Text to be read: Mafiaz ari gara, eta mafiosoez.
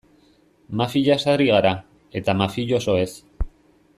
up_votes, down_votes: 0, 2